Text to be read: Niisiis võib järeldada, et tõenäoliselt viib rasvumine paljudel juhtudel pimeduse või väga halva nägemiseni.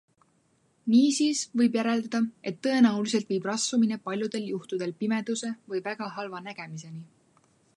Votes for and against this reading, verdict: 2, 0, accepted